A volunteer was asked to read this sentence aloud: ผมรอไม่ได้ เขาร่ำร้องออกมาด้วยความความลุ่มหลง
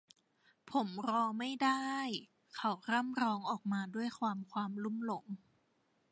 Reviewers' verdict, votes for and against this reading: rejected, 0, 2